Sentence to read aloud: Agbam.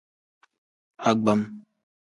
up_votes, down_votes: 2, 0